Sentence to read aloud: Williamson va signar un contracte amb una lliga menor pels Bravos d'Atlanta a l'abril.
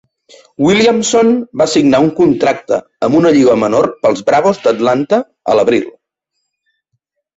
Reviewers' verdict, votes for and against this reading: accepted, 2, 0